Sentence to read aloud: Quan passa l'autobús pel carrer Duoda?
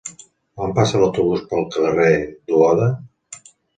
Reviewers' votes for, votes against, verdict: 2, 0, accepted